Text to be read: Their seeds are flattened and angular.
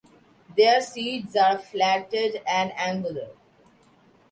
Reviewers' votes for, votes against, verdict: 1, 2, rejected